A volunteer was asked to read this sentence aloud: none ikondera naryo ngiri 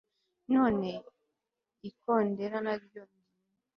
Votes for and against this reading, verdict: 1, 2, rejected